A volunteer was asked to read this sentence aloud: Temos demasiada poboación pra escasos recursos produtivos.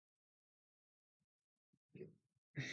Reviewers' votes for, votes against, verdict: 0, 2, rejected